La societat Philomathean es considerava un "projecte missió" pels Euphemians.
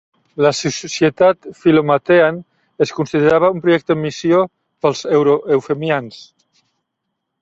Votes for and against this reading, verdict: 0, 2, rejected